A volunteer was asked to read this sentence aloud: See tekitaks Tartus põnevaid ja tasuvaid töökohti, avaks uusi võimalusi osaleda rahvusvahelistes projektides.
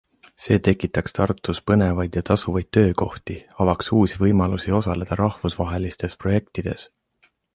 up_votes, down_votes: 2, 0